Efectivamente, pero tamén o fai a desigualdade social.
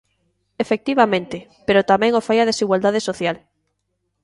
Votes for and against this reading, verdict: 2, 0, accepted